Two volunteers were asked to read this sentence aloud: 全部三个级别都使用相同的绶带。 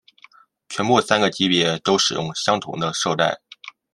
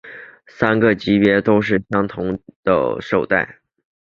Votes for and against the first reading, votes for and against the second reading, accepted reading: 2, 0, 0, 4, first